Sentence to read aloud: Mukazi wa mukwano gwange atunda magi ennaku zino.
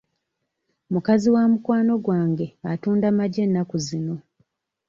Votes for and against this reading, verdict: 2, 0, accepted